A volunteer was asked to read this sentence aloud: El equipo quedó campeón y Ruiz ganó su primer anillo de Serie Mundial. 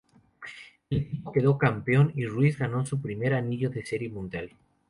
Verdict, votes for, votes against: rejected, 0, 2